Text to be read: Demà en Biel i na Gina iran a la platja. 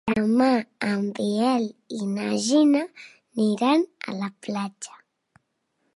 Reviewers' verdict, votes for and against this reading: rejected, 0, 2